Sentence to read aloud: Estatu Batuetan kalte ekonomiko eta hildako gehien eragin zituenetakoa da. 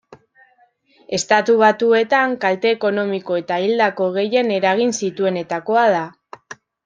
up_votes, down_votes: 2, 0